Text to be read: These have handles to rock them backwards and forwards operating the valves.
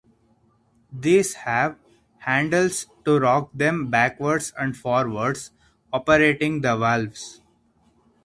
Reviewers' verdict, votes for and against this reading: accepted, 4, 0